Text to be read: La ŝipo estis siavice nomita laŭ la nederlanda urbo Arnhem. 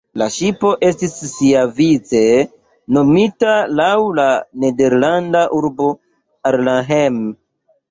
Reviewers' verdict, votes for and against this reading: rejected, 0, 2